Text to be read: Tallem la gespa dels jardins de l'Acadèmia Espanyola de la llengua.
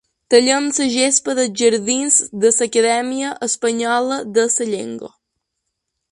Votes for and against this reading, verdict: 1, 2, rejected